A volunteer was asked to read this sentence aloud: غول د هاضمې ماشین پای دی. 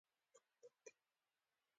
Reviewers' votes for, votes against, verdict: 2, 1, accepted